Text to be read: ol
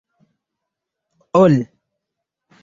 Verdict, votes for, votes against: rejected, 1, 2